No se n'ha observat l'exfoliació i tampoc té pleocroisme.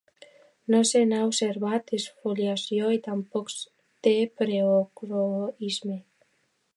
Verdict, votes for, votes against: rejected, 0, 2